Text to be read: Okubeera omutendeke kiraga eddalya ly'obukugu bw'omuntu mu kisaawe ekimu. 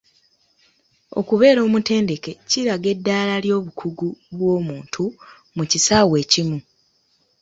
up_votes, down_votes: 0, 2